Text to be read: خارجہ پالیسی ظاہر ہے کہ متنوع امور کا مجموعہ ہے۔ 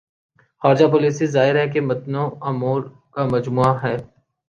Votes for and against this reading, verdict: 2, 0, accepted